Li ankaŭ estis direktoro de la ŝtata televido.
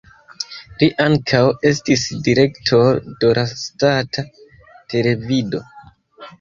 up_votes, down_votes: 0, 2